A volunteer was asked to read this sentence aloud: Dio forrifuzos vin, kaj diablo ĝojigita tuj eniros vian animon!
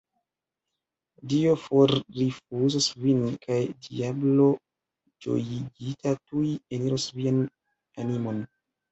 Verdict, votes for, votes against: rejected, 1, 2